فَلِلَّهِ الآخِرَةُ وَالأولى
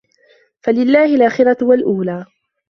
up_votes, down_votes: 2, 0